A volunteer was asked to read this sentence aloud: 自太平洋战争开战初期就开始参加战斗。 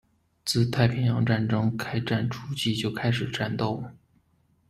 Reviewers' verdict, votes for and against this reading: rejected, 1, 2